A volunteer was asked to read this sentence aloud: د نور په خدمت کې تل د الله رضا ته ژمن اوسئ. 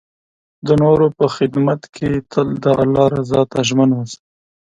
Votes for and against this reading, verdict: 4, 0, accepted